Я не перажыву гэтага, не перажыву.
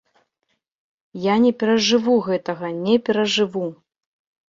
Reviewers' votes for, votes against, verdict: 2, 0, accepted